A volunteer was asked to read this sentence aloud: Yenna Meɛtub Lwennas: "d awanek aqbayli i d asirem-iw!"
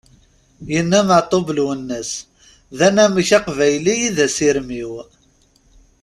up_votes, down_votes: 1, 3